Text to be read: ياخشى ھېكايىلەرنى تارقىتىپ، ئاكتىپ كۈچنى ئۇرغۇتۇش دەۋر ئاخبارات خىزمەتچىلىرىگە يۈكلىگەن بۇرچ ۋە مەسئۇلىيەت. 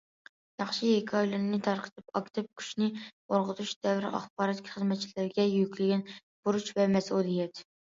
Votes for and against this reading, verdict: 0, 2, rejected